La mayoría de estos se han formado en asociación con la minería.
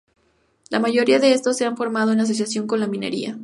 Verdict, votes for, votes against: accepted, 2, 0